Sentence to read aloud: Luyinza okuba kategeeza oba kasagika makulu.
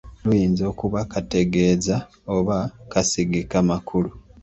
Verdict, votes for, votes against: accepted, 2, 0